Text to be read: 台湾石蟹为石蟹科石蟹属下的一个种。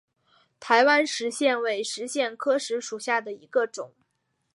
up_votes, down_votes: 0, 2